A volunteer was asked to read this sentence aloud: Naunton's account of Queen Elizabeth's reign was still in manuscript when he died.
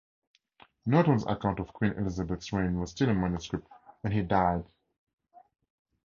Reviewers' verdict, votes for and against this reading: accepted, 2, 0